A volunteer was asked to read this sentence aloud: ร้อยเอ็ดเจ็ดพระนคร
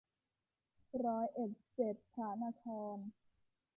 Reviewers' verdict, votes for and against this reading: accepted, 2, 0